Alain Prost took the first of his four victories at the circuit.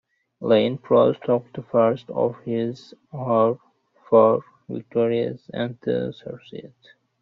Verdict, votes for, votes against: rejected, 1, 2